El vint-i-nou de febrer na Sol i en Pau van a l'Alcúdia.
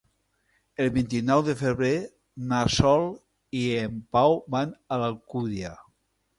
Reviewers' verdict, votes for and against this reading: accepted, 2, 0